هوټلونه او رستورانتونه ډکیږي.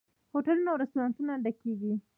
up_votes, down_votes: 2, 0